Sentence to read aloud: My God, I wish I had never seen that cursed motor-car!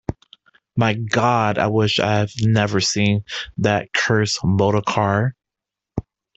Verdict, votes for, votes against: rejected, 0, 2